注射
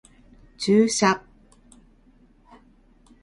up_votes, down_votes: 3, 0